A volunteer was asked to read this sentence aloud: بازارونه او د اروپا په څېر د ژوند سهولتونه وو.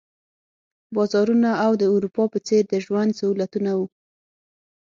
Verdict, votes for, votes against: accepted, 6, 0